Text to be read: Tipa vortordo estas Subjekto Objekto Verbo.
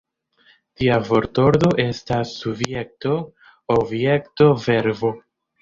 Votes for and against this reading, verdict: 0, 2, rejected